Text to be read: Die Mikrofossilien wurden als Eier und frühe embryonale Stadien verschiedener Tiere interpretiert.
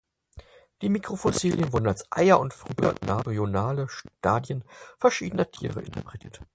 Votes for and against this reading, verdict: 0, 4, rejected